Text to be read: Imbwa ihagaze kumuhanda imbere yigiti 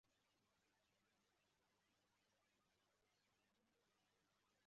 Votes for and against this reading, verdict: 0, 2, rejected